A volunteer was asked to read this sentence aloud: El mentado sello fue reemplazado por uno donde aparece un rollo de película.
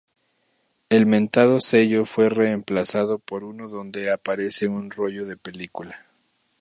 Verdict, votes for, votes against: rejected, 0, 2